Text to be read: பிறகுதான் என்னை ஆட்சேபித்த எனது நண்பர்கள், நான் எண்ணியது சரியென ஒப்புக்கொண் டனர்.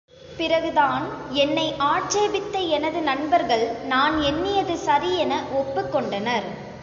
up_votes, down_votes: 2, 1